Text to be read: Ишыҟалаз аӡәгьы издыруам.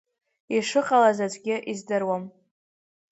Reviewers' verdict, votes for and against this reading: rejected, 0, 2